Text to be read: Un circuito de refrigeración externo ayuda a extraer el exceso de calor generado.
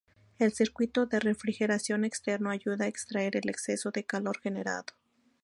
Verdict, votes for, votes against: rejected, 0, 2